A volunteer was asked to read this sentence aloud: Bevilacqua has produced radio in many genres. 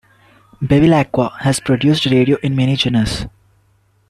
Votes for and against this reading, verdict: 1, 2, rejected